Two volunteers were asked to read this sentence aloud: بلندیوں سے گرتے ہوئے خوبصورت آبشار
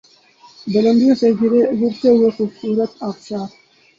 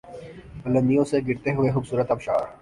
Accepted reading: second